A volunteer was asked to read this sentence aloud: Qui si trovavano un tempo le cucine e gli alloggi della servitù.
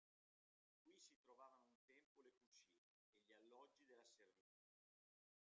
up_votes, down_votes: 1, 2